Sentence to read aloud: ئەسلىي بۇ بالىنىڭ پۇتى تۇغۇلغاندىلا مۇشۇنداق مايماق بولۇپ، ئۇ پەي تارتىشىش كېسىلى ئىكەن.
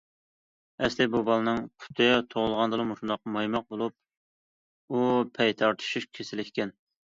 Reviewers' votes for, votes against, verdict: 2, 0, accepted